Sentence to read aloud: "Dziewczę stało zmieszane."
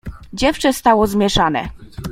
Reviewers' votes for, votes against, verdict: 2, 0, accepted